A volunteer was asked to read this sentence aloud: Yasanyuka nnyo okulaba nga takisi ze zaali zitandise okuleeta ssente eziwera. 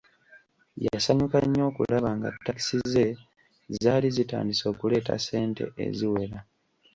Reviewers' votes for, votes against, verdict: 1, 2, rejected